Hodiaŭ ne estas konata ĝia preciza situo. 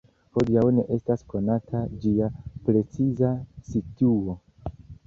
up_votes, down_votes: 2, 0